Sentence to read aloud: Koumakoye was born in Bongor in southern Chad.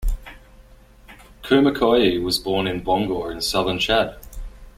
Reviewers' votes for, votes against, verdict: 3, 0, accepted